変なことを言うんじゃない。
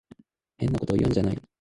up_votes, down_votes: 1, 2